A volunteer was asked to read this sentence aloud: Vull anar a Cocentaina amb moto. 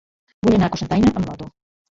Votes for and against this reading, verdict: 0, 2, rejected